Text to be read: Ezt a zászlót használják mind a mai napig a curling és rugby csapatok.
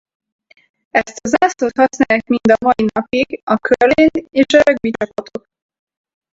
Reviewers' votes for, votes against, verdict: 2, 4, rejected